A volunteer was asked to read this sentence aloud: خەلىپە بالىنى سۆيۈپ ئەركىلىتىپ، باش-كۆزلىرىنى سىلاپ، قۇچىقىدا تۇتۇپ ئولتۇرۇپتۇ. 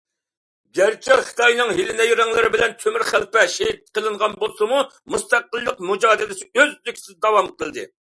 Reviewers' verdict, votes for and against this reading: rejected, 0, 2